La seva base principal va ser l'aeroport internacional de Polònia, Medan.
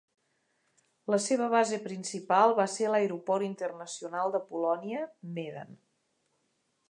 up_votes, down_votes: 2, 0